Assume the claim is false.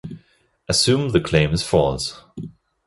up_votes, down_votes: 2, 0